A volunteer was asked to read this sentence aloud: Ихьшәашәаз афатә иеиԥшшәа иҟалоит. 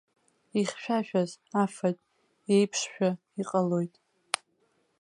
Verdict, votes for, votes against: rejected, 1, 2